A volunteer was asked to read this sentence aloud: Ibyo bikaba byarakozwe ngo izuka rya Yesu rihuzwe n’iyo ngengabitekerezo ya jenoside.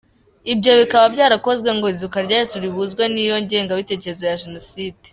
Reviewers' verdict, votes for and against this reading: accepted, 3, 0